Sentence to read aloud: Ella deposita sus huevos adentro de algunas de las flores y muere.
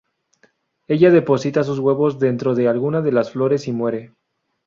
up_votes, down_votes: 0, 2